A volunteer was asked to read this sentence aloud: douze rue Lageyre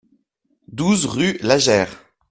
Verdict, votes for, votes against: accepted, 2, 0